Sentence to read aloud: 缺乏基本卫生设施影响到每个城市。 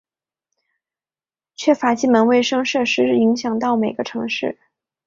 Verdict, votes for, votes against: accepted, 2, 0